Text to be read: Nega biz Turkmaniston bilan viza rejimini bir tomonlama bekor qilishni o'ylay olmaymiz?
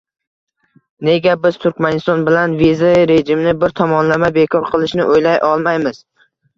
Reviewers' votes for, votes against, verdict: 2, 1, accepted